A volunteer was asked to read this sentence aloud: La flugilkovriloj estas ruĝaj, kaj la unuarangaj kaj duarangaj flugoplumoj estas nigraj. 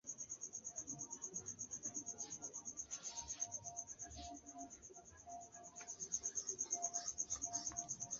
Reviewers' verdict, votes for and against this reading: accepted, 2, 0